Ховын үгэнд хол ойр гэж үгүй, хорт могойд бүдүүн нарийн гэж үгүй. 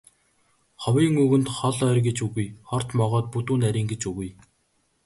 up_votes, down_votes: 3, 1